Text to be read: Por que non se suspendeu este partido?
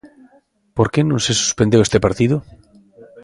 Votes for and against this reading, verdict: 2, 0, accepted